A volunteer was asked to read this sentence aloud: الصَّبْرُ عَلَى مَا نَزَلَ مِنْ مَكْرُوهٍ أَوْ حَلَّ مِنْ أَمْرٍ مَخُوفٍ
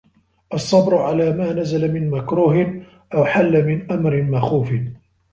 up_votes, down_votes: 2, 1